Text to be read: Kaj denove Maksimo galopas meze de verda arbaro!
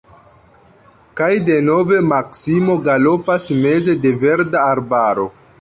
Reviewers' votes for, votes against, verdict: 3, 0, accepted